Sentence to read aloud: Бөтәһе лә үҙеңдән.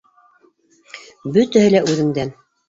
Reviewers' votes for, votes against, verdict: 2, 1, accepted